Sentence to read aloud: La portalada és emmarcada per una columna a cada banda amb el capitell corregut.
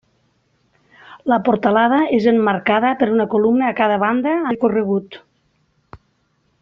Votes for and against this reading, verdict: 0, 2, rejected